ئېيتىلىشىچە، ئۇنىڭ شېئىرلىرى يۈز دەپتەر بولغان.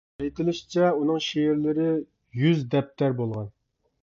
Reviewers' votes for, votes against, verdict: 2, 0, accepted